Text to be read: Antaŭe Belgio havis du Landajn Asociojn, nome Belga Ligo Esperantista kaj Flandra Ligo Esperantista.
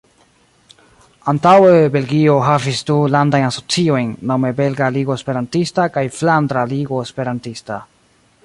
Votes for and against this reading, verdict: 2, 0, accepted